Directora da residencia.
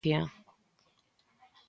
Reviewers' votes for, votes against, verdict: 0, 3, rejected